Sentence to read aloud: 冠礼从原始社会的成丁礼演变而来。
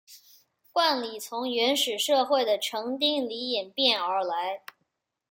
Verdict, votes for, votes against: accepted, 2, 0